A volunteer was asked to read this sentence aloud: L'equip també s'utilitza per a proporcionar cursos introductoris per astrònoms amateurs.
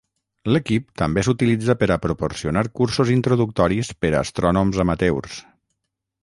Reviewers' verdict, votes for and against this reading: rejected, 3, 3